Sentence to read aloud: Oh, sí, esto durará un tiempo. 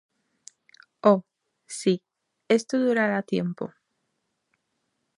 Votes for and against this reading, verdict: 0, 2, rejected